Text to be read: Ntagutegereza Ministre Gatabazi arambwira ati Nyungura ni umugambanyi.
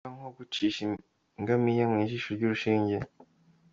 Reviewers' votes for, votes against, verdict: 0, 2, rejected